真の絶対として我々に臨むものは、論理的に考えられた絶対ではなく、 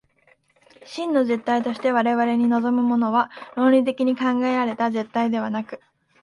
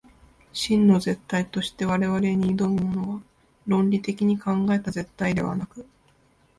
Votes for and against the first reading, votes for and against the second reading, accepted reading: 2, 1, 0, 2, first